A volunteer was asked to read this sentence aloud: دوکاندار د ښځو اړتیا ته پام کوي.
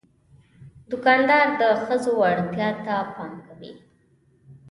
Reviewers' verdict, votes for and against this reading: rejected, 0, 2